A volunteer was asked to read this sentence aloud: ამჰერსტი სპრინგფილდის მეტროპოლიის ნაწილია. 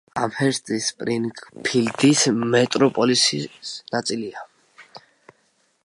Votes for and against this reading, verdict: 0, 2, rejected